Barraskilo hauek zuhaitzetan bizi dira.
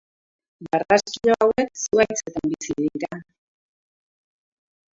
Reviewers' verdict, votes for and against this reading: rejected, 0, 2